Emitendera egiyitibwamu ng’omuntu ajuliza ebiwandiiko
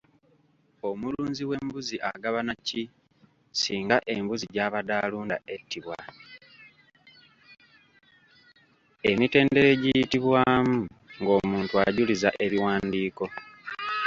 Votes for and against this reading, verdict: 1, 2, rejected